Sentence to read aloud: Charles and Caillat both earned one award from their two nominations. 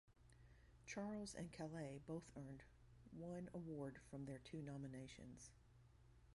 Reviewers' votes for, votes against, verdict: 1, 2, rejected